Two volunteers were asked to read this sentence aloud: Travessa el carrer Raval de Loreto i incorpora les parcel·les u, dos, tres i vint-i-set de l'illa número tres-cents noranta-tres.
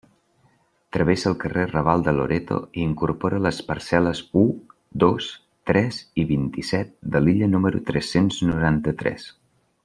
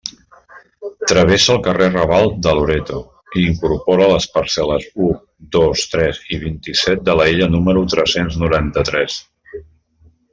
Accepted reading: first